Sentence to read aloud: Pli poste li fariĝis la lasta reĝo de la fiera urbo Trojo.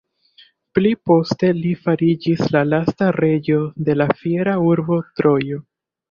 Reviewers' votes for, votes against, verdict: 2, 0, accepted